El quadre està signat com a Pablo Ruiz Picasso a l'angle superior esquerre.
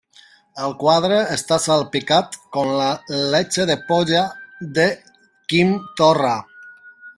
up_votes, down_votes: 0, 2